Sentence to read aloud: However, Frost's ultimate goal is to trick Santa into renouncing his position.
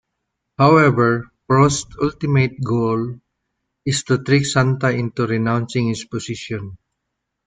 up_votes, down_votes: 0, 2